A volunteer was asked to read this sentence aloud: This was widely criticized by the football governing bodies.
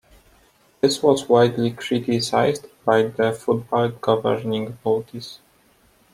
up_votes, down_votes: 2, 0